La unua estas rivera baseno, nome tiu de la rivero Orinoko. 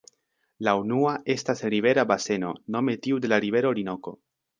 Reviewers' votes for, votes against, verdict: 2, 0, accepted